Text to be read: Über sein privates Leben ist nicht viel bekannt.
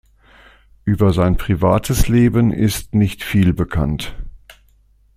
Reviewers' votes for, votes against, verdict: 2, 0, accepted